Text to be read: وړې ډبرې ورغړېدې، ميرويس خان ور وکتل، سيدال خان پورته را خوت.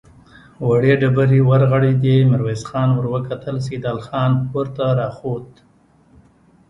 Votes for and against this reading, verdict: 1, 2, rejected